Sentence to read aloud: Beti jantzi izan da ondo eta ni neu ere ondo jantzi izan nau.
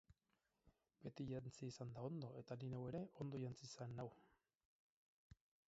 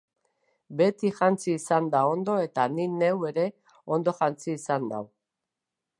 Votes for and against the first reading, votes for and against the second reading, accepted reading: 0, 4, 2, 0, second